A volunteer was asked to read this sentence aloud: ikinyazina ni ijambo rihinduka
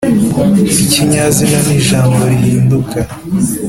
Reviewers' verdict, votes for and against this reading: accepted, 2, 0